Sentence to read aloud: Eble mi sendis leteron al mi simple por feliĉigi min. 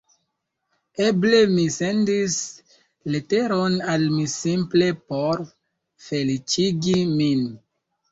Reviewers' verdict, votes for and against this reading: accepted, 2, 0